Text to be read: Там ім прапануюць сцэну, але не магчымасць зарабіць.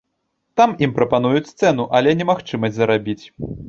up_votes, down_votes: 2, 0